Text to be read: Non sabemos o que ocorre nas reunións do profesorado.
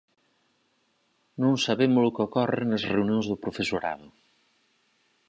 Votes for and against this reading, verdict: 4, 0, accepted